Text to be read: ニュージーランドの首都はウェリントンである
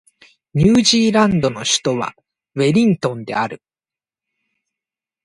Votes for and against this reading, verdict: 2, 0, accepted